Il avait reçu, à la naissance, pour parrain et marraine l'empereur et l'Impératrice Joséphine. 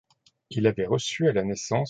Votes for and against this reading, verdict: 0, 2, rejected